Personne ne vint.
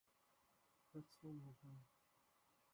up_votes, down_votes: 0, 2